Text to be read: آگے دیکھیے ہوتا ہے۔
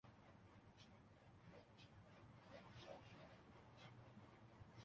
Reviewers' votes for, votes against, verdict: 0, 2, rejected